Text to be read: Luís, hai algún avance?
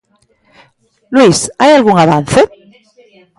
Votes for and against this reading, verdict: 2, 0, accepted